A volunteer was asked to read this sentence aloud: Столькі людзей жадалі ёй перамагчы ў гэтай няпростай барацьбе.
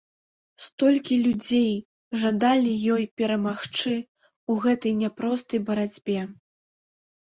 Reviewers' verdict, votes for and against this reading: accepted, 5, 0